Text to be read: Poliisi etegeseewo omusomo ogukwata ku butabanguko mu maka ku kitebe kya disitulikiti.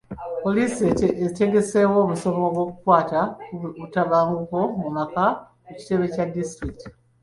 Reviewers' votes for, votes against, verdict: 2, 0, accepted